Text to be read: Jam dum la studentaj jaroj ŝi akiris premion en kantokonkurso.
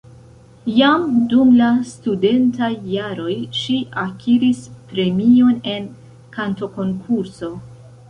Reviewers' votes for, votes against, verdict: 2, 0, accepted